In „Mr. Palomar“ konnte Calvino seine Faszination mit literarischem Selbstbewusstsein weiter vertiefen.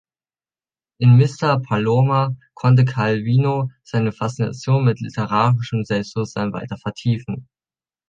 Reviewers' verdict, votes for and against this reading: accepted, 3, 0